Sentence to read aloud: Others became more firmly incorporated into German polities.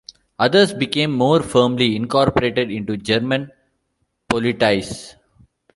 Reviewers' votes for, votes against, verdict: 1, 2, rejected